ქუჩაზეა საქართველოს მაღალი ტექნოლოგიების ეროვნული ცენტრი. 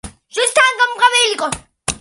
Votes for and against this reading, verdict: 0, 2, rejected